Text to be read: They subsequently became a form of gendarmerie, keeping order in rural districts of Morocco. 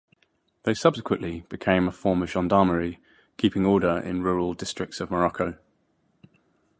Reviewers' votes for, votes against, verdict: 2, 0, accepted